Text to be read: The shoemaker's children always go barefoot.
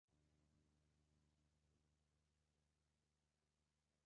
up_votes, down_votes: 1, 2